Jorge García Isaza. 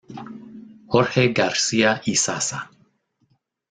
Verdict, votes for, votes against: rejected, 0, 2